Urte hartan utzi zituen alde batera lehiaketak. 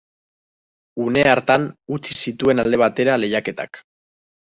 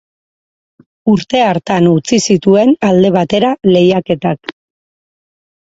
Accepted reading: second